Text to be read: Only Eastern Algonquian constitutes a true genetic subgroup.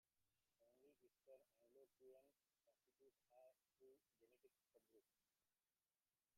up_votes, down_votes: 0, 2